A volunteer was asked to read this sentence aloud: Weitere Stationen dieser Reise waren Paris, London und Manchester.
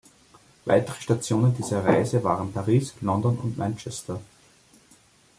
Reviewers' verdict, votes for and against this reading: accepted, 2, 0